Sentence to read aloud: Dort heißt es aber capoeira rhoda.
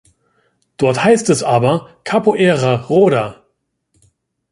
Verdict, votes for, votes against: accepted, 2, 0